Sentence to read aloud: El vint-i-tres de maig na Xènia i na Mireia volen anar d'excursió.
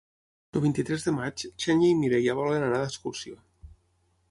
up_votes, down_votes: 3, 6